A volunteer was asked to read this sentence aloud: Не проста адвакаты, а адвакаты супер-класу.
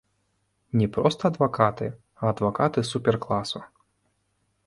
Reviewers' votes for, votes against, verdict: 2, 0, accepted